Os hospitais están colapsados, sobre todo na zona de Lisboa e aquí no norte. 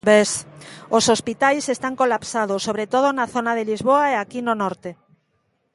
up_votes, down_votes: 0, 2